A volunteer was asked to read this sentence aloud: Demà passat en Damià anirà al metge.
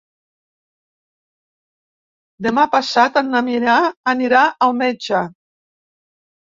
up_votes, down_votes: 0, 2